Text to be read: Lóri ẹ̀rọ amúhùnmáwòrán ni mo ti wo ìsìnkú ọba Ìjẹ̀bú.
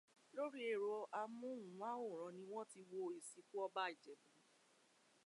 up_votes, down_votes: 1, 3